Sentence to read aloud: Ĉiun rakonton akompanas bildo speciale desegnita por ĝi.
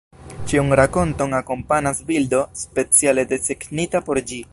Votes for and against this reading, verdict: 1, 2, rejected